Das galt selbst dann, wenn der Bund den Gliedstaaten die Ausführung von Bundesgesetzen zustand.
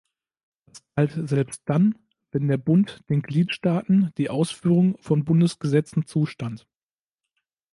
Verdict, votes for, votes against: rejected, 1, 2